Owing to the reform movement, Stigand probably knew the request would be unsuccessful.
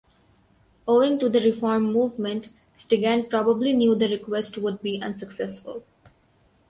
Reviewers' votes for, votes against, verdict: 4, 0, accepted